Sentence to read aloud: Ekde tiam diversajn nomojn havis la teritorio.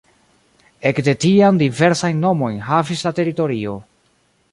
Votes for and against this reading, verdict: 1, 2, rejected